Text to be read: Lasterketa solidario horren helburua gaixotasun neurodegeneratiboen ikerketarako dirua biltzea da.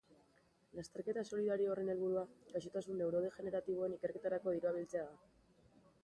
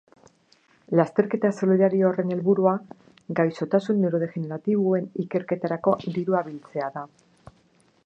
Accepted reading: second